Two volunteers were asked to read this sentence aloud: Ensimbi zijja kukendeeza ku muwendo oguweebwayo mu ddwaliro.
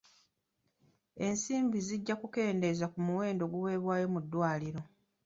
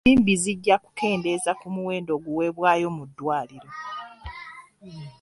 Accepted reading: first